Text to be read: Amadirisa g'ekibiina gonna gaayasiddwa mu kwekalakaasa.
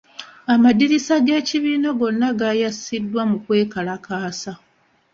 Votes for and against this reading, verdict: 2, 1, accepted